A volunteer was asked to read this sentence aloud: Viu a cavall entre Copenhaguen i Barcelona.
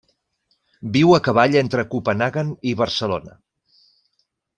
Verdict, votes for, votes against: accepted, 2, 0